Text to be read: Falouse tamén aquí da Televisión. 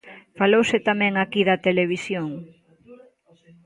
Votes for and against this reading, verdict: 0, 2, rejected